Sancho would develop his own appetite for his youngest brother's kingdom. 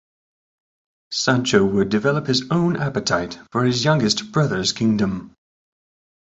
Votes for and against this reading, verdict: 1, 2, rejected